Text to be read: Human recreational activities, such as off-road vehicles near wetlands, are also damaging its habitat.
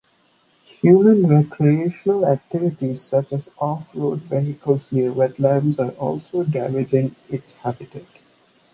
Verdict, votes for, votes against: rejected, 0, 2